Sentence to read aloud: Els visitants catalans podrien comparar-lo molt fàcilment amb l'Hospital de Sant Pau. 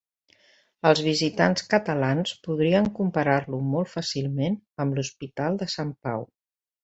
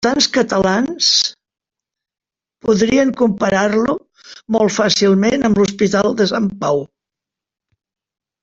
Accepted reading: first